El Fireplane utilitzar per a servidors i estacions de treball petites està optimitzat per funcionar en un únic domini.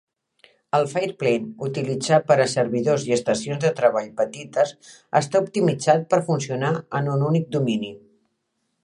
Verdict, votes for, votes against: accepted, 2, 0